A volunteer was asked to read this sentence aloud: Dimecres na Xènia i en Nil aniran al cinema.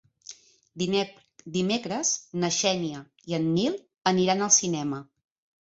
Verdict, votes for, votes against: rejected, 0, 2